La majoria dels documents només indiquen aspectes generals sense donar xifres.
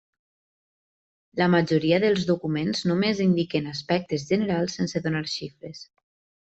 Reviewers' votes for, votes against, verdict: 1, 2, rejected